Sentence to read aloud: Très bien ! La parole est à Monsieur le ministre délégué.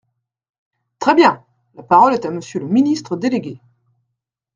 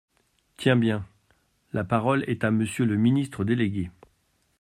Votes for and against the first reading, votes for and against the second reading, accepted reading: 2, 0, 0, 2, first